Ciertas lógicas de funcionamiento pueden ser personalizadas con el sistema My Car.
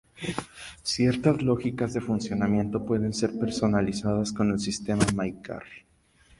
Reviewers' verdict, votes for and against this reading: rejected, 0, 2